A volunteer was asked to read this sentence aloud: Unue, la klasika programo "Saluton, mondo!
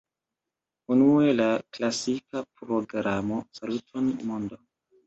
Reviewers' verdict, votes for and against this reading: rejected, 0, 2